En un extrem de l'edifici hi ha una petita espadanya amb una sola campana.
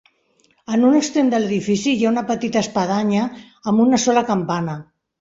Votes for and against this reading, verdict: 3, 0, accepted